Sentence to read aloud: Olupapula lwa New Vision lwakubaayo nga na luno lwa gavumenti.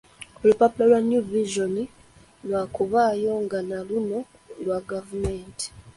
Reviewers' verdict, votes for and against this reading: accepted, 2, 1